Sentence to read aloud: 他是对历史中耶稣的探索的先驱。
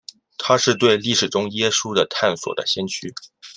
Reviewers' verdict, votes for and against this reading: accepted, 2, 0